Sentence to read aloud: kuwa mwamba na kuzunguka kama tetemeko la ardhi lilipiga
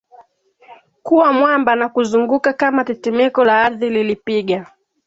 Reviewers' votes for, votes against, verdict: 2, 0, accepted